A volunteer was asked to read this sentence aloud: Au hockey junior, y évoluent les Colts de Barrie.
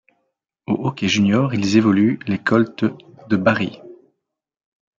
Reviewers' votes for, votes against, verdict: 0, 2, rejected